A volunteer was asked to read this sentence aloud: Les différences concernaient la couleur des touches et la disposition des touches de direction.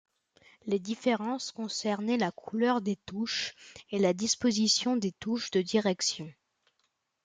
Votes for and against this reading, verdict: 2, 0, accepted